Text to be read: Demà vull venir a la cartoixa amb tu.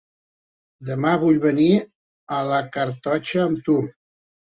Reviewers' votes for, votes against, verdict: 2, 0, accepted